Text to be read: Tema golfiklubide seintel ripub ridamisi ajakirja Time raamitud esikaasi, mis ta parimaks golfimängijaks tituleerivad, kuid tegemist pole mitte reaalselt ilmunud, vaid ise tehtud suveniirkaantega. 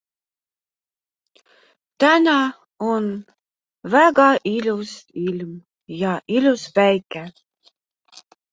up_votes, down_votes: 0, 3